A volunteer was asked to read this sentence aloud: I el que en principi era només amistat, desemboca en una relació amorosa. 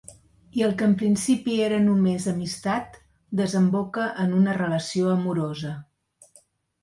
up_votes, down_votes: 1, 2